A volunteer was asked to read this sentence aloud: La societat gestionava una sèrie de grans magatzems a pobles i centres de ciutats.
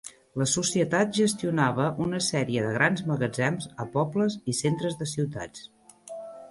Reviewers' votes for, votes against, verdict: 3, 0, accepted